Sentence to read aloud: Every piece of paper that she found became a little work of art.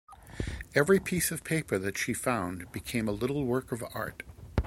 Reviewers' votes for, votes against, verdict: 2, 0, accepted